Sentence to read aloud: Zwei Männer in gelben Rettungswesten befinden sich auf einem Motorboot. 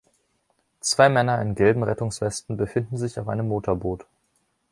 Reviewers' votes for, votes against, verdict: 2, 0, accepted